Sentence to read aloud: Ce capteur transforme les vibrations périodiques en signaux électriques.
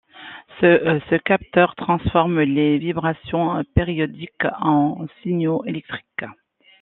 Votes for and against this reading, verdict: 1, 2, rejected